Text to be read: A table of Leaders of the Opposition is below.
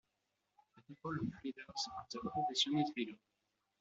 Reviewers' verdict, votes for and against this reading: rejected, 0, 2